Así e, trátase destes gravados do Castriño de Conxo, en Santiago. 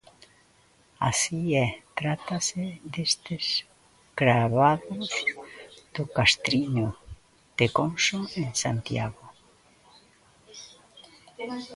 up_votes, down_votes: 1, 2